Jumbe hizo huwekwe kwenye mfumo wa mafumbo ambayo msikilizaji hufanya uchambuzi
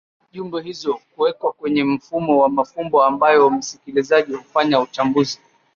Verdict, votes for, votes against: accepted, 2, 0